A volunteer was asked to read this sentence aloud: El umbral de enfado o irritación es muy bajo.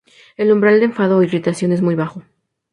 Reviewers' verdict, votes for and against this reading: accepted, 2, 0